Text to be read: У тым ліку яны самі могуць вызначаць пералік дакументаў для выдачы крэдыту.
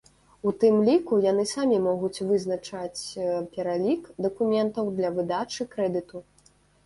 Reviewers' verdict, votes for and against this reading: rejected, 0, 2